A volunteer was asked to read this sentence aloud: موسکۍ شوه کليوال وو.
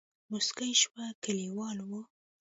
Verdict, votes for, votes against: rejected, 0, 2